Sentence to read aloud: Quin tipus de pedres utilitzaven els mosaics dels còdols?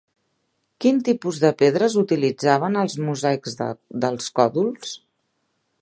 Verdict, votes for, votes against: rejected, 0, 2